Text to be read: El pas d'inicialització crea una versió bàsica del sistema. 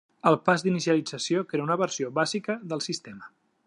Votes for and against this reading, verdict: 3, 0, accepted